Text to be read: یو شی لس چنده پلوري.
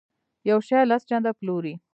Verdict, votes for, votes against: rejected, 1, 2